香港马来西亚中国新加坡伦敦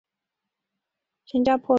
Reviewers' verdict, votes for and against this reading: rejected, 1, 2